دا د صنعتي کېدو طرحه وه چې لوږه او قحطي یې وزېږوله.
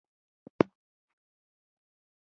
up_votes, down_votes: 1, 2